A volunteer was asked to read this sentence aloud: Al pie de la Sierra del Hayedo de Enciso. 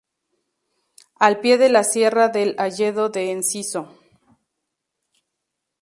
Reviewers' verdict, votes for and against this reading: accepted, 2, 0